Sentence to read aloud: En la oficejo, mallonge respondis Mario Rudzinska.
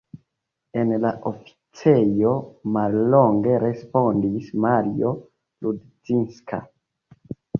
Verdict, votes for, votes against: rejected, 0, 2